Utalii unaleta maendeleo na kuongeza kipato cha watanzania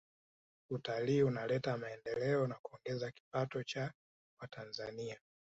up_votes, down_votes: 0, 2